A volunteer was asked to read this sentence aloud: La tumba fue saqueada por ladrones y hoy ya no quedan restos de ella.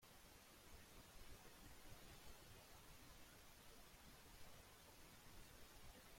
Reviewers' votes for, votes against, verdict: 0, 2, rejected